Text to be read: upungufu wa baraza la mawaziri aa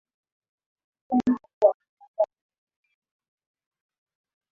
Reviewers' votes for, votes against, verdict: 0, 2, rejected